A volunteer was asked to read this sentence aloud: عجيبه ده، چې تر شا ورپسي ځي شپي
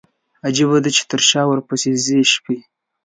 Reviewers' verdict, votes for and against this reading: accepted, 2, 0